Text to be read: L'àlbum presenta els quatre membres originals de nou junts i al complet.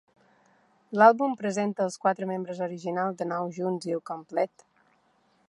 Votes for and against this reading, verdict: 2, 0, accepted